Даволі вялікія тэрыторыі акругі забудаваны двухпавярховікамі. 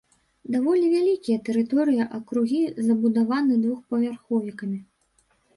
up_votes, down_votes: 1, 2